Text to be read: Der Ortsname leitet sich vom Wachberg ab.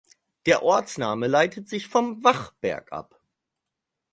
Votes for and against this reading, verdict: 4, 0, accepted